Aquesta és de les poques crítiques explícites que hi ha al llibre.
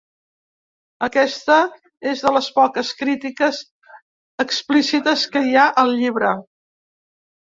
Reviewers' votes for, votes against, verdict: 3, 0, accepted